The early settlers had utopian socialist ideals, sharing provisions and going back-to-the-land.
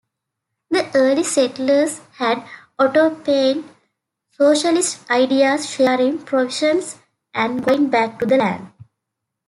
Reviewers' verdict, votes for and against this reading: rejected, 0, 2